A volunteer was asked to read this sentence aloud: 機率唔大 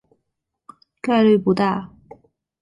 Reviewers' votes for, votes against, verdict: 0, 2, rejected